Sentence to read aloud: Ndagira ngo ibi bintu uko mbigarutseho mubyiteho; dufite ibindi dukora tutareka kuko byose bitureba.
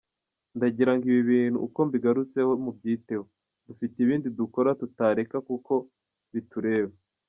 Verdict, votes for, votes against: rejected, 0, 2